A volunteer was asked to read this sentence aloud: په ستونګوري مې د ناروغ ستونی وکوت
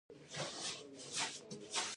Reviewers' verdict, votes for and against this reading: rejected, 1, 2